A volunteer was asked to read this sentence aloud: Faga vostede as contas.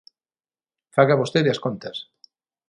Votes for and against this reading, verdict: 6, 0, accepted